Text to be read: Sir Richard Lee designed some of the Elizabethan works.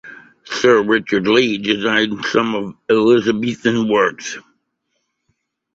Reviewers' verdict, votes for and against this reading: rejected, 1, 2